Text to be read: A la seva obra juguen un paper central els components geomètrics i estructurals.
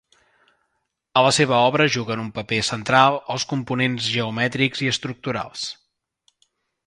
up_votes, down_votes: 3, 0